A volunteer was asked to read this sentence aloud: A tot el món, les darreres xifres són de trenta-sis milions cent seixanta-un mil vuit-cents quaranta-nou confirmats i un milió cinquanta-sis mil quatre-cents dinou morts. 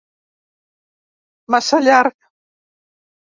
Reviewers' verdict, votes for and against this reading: rejected, 0, 2